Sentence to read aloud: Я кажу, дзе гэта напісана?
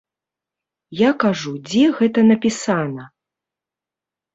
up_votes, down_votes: 1, 2